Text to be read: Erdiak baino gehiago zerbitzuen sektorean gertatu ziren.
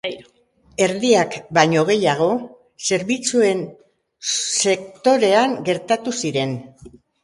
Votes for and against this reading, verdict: 2, 0, accepted